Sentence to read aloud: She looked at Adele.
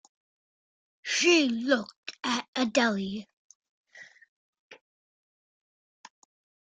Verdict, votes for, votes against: rejected, 0, 2